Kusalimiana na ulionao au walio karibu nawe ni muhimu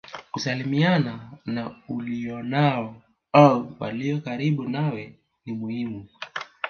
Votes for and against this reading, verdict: 1, 2, rejected